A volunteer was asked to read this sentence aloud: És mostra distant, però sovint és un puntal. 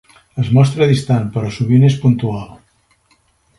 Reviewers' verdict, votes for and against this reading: rejected, 2, 3